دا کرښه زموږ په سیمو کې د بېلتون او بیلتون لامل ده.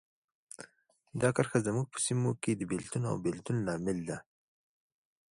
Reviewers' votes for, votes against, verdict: 2, 0, accepted